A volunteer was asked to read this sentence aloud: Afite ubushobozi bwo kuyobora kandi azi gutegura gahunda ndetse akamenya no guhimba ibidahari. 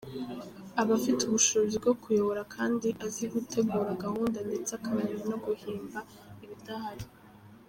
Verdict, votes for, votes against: rejected, 0, 2